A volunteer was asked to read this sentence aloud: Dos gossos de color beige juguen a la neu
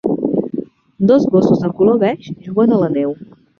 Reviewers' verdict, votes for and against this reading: rejected, 1, 2